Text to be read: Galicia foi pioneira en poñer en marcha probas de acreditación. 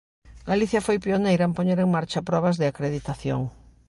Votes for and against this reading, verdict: 2, 0, accepted